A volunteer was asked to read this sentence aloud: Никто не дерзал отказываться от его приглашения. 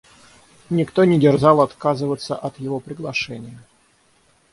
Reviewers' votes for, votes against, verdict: 6, 0, accepted